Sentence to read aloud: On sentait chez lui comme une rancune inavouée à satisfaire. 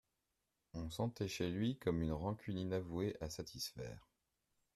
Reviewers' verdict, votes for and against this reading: accepted, 2, 0